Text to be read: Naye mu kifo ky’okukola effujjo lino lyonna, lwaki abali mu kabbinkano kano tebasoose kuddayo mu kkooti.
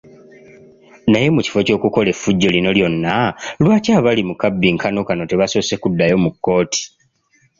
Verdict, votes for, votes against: accepted, 2, 0